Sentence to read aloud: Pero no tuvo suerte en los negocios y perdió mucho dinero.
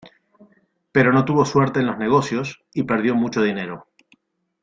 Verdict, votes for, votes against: accepted, 2, 0